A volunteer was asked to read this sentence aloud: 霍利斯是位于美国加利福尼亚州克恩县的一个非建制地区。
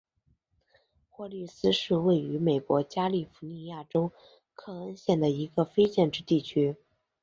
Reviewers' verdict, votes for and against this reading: accepted, 5, 0